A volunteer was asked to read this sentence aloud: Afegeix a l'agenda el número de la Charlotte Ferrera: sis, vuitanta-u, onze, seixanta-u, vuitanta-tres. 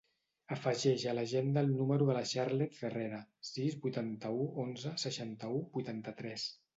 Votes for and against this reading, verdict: 0, 2, rejected